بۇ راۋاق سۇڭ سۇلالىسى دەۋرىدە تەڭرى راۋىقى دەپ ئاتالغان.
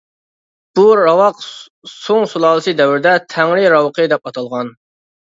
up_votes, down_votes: 2, 0